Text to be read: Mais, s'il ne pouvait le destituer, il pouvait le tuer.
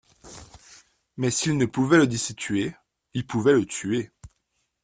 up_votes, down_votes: 3, 0